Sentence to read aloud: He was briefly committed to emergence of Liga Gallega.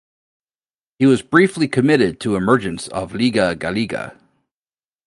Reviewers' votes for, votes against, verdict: 2, 0, accepted